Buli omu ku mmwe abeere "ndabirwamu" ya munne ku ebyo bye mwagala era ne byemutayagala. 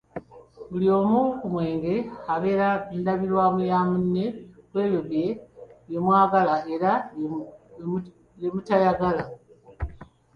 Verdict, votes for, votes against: rejected, 0, 2